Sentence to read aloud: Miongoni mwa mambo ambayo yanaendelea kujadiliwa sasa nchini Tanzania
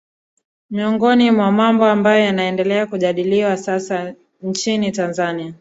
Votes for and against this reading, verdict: 2, 0, accepted